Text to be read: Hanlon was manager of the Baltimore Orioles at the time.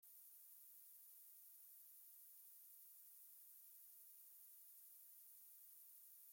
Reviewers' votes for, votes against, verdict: 0, 2, rejected